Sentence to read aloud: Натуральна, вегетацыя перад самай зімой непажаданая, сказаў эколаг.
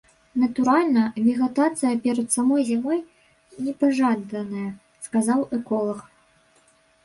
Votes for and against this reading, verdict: 0, 2, rejected